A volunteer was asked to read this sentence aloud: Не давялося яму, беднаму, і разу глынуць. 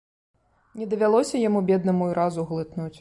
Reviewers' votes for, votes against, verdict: 0, 2, rejected